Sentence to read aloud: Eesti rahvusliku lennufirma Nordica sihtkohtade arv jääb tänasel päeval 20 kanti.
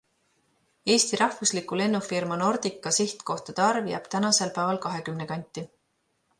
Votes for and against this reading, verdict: 0, 2, rejected